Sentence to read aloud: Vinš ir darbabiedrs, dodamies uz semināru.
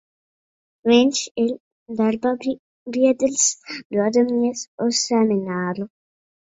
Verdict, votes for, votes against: rejected, 1, 2